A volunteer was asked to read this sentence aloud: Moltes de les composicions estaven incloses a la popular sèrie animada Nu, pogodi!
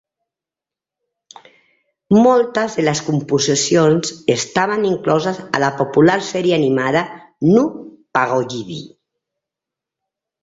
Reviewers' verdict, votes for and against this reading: rejected, 0, 3